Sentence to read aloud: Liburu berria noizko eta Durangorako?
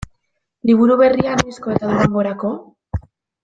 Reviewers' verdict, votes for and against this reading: rejected, 1, 2